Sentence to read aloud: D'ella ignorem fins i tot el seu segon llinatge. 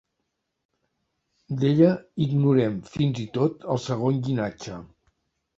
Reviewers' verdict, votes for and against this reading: rejected, 0, 3